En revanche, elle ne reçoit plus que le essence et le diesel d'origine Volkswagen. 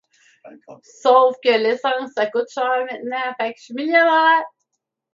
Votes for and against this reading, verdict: 0, 2, rejected